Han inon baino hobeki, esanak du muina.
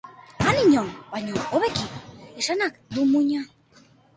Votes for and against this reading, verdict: 2, 1, accepted